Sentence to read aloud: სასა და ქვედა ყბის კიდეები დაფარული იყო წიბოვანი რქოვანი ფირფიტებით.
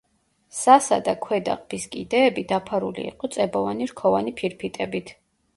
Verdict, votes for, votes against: rejected, 0, 2